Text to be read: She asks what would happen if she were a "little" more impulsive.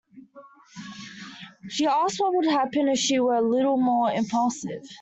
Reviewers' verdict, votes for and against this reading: accepted, 2, 0